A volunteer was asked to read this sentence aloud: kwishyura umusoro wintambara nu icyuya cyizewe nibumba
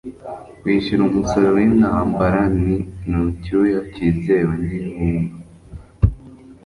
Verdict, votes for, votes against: rejected, 1, 2